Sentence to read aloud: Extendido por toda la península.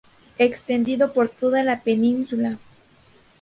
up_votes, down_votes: 0, 2